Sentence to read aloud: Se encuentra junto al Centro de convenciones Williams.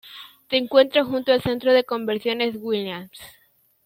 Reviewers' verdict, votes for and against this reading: accepted, 2, 1